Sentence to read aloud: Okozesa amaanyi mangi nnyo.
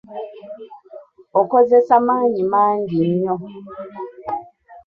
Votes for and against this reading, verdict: 1, 3, rejected